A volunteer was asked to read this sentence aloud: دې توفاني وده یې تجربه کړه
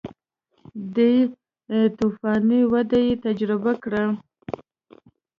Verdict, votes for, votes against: rejected, 1, 2